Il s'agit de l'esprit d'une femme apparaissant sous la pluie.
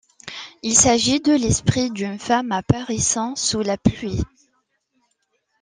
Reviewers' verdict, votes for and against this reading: accepted, 2, 0